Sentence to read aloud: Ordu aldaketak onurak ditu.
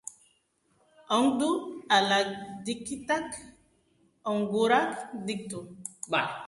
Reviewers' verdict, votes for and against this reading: rejected, 0, 2